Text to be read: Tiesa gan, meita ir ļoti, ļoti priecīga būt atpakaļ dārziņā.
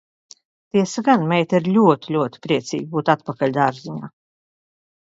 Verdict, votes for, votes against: accepted, 2, 0